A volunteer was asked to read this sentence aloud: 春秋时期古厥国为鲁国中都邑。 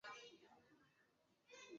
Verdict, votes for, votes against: rejected, 0, 3